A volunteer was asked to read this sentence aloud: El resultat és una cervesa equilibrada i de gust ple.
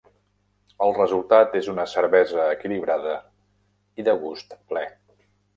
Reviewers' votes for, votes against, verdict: 3, 0, accepted